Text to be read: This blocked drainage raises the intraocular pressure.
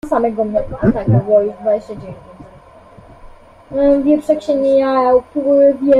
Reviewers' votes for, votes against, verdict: 0, 2, rejected